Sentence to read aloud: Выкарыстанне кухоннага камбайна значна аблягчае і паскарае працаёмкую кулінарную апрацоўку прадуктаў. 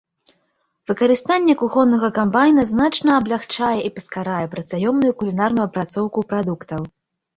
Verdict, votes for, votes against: rejected, 0, 2